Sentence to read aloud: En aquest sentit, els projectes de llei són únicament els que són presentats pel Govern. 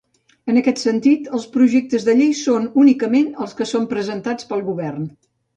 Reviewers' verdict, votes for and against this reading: accepted, 3, 0